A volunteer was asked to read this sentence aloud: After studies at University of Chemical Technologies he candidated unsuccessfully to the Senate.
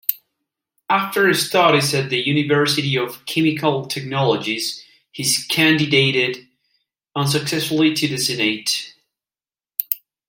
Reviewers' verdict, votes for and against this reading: accepted, 2, 0